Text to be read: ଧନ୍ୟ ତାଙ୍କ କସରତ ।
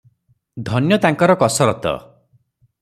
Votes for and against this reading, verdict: 0, 3, rejected